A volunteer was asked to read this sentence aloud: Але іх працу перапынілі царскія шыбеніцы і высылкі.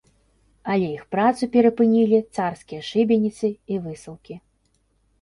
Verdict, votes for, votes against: accepted, 2, 0